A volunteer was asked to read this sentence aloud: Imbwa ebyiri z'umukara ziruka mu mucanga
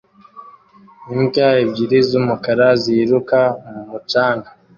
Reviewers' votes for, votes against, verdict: 2, 0, accepted